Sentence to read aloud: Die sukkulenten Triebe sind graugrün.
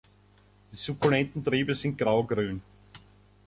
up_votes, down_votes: 0, 2